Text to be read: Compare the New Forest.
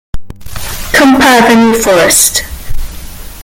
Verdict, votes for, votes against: rejected, 1, 2